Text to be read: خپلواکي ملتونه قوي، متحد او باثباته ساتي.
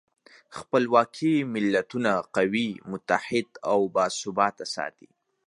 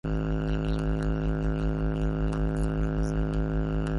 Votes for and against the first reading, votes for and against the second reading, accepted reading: 2, 0, 0, 3, first